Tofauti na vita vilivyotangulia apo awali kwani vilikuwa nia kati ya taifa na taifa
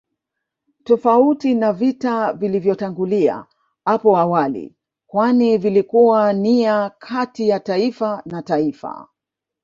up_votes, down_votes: 1, 2